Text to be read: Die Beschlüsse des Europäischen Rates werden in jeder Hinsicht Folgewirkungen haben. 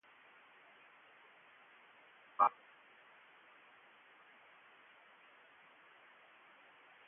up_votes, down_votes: 0, 2